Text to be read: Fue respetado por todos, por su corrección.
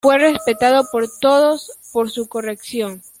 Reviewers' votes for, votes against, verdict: 0, 2, rejected